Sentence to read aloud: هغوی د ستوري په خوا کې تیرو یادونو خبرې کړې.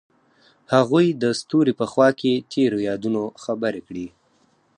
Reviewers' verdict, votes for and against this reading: accepted, 4, 0